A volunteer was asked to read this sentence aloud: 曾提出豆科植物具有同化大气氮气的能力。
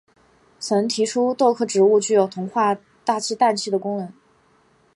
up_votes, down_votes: 2, 0